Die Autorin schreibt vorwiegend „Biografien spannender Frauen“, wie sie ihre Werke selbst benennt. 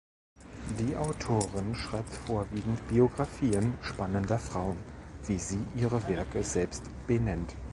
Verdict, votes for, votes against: accepted, 2, 0